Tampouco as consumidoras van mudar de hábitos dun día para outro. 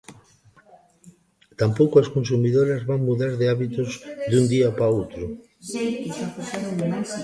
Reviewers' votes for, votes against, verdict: 0, 2, rejected